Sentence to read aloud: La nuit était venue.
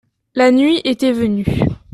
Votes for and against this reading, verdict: 2, 0, accepted